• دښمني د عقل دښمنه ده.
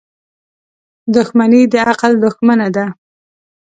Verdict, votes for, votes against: accepted, 2, 0